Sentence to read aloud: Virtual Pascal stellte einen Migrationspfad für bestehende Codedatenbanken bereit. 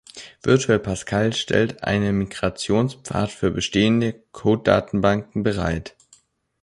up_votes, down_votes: 0, 2